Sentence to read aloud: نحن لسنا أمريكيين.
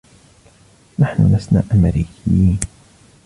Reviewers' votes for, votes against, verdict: 2, 0, accepted